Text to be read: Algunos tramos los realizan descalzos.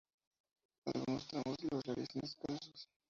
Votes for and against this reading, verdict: 0, 4, rejected